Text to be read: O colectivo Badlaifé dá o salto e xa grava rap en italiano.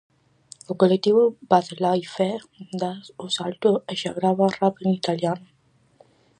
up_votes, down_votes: 2, 2